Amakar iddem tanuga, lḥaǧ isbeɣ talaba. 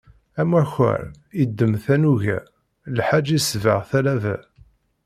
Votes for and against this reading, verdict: 2, 0, accepted